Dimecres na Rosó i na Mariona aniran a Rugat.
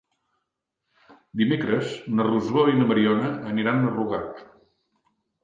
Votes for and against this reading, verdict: 2, 0, accepted